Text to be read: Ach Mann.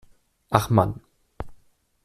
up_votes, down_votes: 2, 0